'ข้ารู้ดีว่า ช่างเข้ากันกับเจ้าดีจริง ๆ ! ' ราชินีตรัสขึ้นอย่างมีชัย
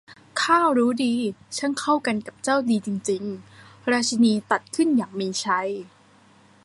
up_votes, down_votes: 0, 2